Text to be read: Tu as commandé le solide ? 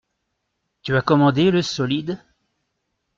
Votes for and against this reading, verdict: 2, 0, accepted